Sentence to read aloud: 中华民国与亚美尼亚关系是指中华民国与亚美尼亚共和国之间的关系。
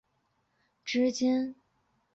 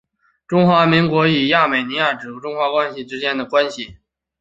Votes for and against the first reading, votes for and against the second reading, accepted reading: 1, 5, 2, 1, second